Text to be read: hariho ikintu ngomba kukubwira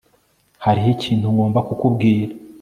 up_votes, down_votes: 1, 2